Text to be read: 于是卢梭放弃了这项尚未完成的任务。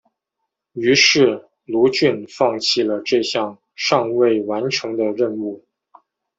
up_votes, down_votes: 0, 2